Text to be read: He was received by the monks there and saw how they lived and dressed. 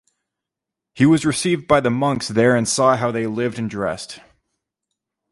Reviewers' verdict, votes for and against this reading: accepted, 2, 0